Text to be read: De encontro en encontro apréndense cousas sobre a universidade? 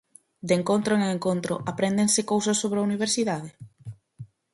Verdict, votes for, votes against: accepted, 4, 0